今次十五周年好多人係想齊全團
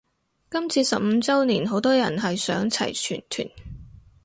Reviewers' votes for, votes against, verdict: 4, 0, accepted